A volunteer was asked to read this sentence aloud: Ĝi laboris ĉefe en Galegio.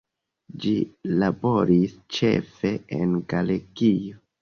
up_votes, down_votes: 2, 1